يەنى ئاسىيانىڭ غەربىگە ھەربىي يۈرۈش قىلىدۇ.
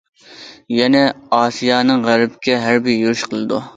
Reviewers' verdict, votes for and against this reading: rejected, 0, 2